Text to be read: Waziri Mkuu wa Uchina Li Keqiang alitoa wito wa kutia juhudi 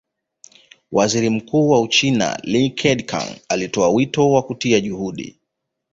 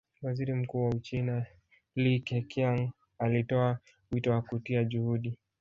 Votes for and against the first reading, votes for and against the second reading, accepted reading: 2, 0, 1, 2, first